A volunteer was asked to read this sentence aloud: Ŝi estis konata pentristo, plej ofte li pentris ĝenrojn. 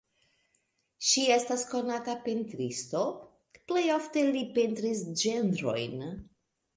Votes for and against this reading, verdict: 2, 0, accepted